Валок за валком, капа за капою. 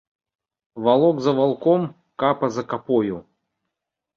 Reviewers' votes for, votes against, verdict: 1, 2, rejected